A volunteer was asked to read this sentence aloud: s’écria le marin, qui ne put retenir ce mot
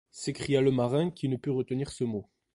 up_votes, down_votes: 2, 1